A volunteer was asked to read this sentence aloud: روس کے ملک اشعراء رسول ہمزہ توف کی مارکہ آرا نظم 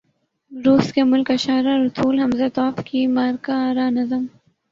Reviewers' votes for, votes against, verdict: 2, 2, rejected